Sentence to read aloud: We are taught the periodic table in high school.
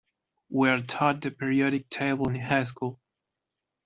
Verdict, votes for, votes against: accepted, 2, 0